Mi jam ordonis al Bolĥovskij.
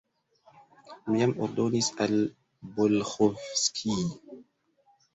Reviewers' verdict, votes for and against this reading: accepted, 2, 0